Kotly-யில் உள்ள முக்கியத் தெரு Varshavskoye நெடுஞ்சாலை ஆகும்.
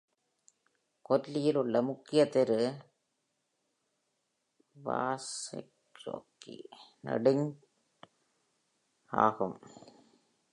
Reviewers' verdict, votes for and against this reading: rejected, 0, 2